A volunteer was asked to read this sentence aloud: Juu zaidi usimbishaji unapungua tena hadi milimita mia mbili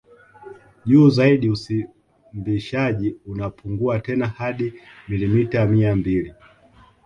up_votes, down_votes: 2, 4